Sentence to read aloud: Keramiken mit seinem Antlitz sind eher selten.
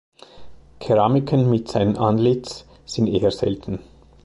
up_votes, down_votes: 2, 0